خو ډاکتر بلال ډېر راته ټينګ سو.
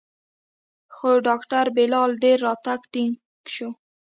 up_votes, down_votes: 2, 0